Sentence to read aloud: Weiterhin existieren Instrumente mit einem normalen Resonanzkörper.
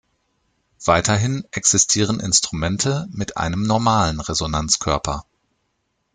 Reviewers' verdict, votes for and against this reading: accepted, 2, 0